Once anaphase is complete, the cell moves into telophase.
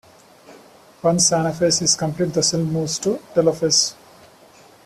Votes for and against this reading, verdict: 2, 0, accepted